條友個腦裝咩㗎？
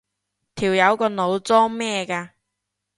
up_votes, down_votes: 2, 0